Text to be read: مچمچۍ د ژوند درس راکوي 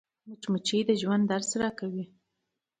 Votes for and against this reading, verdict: 0, 2, rejected